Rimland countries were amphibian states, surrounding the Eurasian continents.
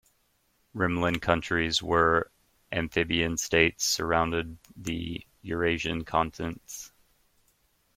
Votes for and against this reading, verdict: 0, 2, rejected